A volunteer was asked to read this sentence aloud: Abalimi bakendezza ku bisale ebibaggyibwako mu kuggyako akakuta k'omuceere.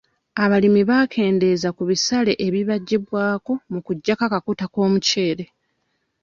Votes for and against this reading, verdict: 1, 2, rejected